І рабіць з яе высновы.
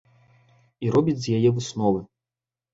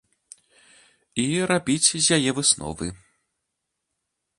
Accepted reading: second